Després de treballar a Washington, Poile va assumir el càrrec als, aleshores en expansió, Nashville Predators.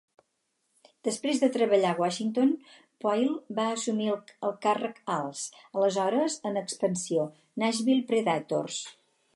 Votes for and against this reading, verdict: 4, 0, accepted